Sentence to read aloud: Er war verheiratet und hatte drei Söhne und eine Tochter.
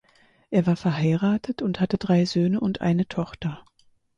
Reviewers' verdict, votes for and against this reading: accepted, 4, 2